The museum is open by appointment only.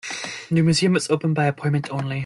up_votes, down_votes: 2, 1